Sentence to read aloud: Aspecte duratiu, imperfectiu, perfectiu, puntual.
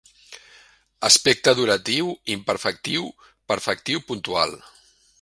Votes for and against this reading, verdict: 2, 0, accepted